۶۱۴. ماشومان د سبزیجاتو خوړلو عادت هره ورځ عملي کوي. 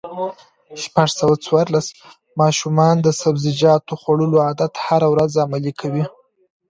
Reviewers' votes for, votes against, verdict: 0, 2, rejected